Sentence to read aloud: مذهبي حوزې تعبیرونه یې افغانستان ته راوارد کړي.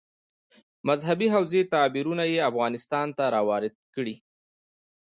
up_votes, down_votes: 2, 0